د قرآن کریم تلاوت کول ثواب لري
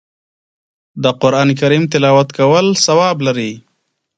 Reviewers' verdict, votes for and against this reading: accepted, 3, 0